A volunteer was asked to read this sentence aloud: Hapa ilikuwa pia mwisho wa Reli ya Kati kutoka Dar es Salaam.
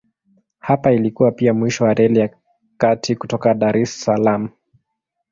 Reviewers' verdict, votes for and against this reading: rejected, 1, 2